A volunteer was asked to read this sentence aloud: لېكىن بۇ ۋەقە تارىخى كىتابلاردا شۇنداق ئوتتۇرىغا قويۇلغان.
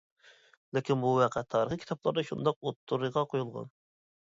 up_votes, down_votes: 0, 2